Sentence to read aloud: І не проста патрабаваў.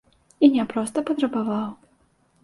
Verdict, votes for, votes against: accepted, 2, 0